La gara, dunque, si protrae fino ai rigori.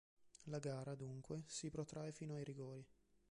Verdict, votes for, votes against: accepted, 2, 0